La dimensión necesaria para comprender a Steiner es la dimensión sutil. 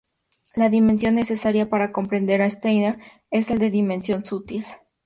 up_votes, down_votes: 2, 0